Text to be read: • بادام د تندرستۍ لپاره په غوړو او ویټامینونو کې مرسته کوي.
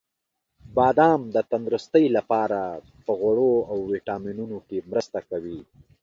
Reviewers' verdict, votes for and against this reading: accepted, 3, 0